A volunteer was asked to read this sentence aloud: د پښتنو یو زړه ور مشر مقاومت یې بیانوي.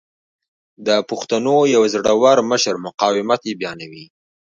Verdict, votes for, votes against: accepted, 2, 0